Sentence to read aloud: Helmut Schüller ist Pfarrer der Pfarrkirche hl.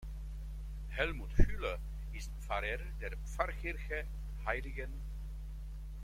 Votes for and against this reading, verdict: 1, 2, rejected